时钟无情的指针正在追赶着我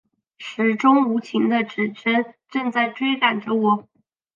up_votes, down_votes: 1, 2